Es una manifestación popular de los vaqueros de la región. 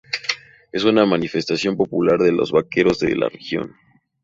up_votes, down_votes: 2, 0